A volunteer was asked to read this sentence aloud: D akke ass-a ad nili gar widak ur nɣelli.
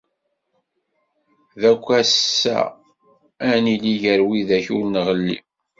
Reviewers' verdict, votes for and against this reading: rejected, 2, 3